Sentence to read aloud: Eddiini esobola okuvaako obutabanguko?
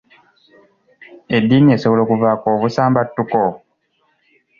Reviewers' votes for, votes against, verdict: 1, 2, rejected